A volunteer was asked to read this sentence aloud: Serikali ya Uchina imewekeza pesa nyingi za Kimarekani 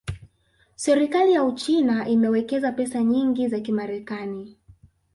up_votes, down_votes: 4, 0